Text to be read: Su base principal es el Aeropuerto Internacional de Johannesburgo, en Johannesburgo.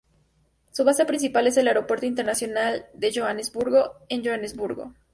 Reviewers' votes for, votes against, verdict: 2, 0, accepted